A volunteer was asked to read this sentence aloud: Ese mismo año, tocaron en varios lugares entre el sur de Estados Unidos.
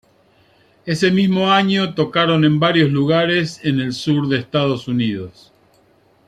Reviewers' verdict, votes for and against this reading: rejected, 1, 2